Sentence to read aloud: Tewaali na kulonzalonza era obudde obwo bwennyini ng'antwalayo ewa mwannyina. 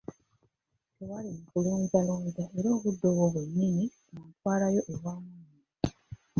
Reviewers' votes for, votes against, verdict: 1, 2, rejected